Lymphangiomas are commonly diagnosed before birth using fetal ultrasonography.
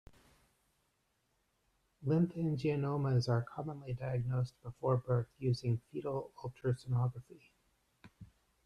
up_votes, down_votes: 1, 2